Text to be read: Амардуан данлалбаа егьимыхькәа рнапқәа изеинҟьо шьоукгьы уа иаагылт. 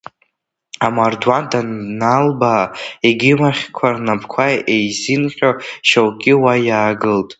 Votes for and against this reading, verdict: 0, 2, rejected